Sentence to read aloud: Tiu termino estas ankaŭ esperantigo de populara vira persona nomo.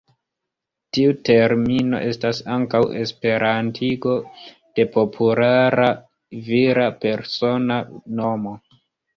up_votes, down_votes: 1, 2